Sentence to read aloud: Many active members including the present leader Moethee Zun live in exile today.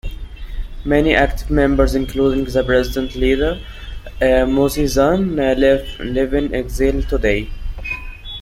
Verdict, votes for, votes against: rejected, 0, 2